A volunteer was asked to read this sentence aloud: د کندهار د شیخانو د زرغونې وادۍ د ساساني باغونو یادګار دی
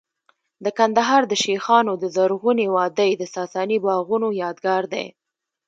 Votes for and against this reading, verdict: 2, 0, accepted